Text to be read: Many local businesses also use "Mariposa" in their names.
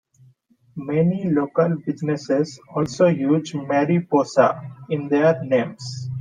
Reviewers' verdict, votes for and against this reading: accepted, 2, 0